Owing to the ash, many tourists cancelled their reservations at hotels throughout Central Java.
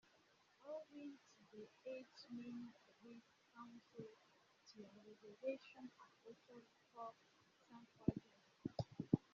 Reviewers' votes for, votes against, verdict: 0, 2, rejected